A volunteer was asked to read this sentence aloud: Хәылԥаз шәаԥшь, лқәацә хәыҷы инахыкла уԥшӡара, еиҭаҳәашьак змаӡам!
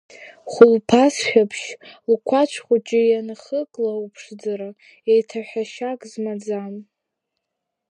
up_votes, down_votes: 0, 2